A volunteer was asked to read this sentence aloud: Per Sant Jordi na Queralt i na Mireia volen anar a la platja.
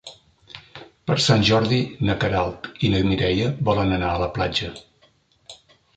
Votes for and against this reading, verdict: 3, 0, accepted